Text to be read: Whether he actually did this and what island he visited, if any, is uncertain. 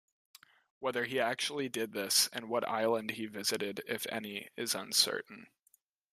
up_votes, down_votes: 2, 0